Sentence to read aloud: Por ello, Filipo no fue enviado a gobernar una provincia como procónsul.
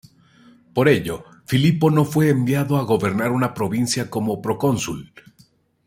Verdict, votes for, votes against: accepted, 2, 0